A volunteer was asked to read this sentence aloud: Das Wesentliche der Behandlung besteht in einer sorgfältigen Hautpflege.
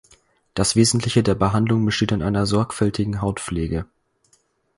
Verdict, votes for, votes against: accepted, 4, 0